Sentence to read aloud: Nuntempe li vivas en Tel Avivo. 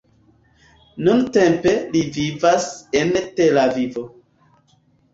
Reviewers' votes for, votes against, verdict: 1, 2, rejected